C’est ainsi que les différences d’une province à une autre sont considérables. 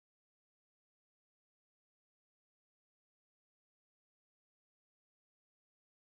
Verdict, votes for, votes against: rejected, 0, 2